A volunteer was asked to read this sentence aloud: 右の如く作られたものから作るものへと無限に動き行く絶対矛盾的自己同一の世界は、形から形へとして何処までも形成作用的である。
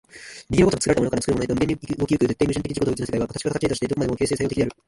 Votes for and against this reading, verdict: 0, 3, rejected